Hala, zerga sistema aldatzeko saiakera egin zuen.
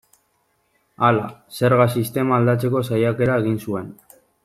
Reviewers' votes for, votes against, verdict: 2, 1, accepted